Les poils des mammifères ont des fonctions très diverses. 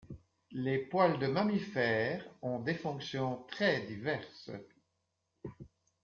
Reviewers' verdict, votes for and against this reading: rejected, 1, 2